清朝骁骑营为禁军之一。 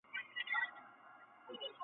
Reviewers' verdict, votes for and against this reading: rejected, 0, 2